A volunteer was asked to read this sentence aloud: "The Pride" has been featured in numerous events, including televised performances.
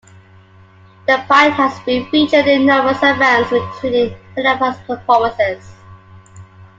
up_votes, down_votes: 0, 2